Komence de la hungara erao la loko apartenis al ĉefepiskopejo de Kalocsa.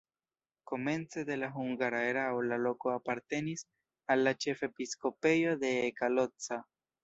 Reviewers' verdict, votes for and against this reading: rejected, 1, 2